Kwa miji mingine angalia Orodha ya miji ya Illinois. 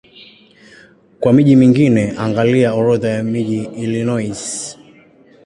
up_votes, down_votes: 1, 2